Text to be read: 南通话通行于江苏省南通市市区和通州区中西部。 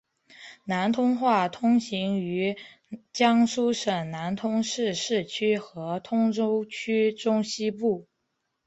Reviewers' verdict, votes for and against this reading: accepted, 3, 1